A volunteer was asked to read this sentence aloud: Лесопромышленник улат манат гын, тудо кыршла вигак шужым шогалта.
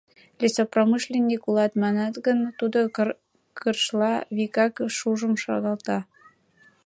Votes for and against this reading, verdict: 1, 2, rejected